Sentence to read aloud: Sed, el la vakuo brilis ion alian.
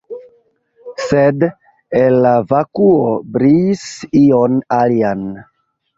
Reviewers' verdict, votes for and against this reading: rejected, 1, 2